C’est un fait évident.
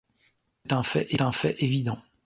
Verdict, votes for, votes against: rejected, 0, 2